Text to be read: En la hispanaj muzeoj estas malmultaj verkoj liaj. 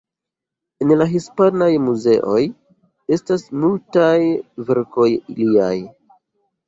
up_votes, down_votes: 0, 2